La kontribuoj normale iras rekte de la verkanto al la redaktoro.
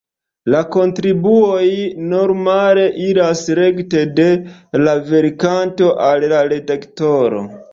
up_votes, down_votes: 1, 2